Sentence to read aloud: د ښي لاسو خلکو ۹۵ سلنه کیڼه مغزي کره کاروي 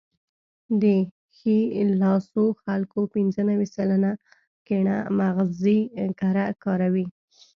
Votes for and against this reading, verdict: 0, 2, rejected